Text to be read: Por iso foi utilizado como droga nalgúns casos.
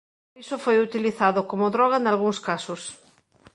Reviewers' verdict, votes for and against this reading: rejected, 1, 2